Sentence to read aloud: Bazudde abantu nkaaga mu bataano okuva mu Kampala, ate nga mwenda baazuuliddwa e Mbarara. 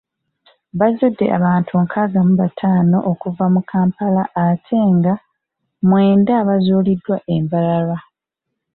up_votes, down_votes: 2, 0